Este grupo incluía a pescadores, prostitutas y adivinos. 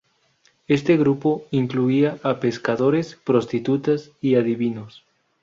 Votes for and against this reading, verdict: 6, 0, accepted